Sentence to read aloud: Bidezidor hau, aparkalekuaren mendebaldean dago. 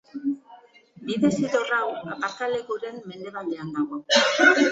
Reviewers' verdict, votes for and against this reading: rejected, 0, 2